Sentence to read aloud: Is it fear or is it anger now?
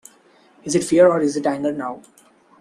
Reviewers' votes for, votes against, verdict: 2, 1, accepted